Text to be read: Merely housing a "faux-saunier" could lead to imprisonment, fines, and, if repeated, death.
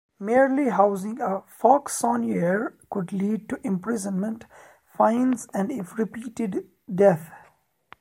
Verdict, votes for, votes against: rejected, 1, 2